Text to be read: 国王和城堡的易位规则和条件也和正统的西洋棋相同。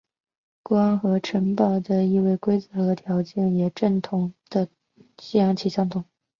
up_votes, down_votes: 2, 1